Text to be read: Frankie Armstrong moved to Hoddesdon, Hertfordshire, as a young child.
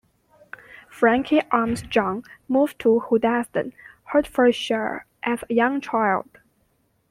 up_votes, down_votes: 2, 0